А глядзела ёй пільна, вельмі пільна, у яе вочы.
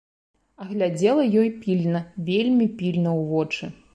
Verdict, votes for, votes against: rejected, 0, 2